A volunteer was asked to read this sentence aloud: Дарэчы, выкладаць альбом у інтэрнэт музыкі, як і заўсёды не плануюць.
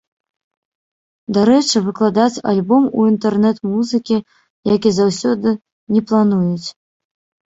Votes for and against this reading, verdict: 0, 2, rejected